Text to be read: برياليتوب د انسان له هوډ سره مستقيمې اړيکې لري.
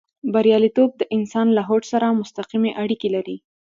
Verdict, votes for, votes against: accepted, 2, 0